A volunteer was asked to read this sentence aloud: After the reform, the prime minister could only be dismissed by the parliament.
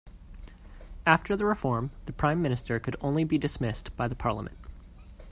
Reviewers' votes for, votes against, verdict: 2, 0, accepted